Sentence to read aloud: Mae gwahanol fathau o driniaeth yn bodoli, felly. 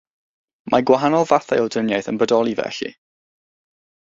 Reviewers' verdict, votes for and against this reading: accepted, 3, 0